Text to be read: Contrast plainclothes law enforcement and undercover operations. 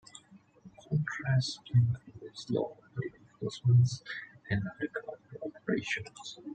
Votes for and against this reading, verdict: 0, 2, rejected